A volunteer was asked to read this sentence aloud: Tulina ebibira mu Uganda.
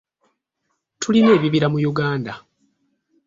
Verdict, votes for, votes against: accepted, 2, 0